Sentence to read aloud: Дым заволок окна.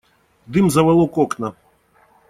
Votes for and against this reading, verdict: 2, 0, accepted